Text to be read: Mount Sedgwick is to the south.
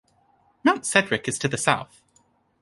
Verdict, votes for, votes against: accepted, 2, 0